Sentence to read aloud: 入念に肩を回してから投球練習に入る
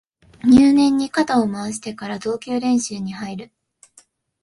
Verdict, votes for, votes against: accepted, 5, 0